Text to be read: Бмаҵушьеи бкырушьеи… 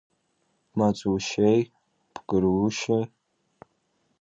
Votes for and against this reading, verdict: 0, 2, rejected